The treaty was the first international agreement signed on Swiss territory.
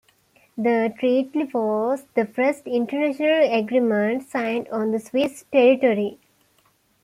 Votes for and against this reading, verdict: 2, 1, accepted